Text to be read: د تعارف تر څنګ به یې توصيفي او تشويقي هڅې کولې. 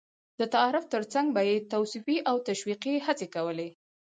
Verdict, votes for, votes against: accepted, 4, 0